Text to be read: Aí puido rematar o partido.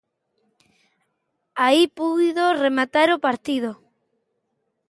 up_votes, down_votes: 2, 0